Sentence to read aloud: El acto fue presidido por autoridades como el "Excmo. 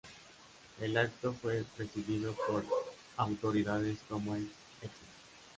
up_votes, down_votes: 0, 2